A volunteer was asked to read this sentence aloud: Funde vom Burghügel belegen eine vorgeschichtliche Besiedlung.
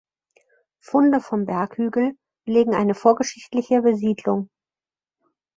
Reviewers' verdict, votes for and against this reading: rejected, 0, 4